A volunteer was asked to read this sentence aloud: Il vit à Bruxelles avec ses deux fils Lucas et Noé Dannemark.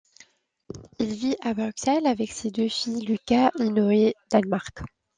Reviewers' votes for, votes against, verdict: 1, 2, rejected